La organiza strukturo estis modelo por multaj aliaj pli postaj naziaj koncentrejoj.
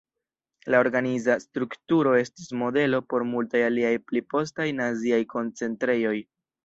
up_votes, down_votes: 0, 2